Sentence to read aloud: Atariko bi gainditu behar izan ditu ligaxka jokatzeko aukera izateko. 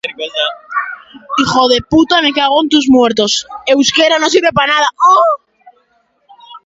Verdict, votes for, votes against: rejected, 0, 2